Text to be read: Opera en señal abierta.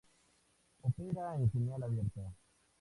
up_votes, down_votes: 2, 0